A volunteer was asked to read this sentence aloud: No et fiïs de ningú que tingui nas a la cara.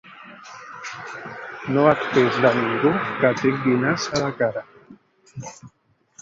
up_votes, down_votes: 1, 2